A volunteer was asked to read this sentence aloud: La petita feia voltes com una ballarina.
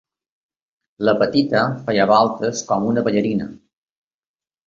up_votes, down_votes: 3, 0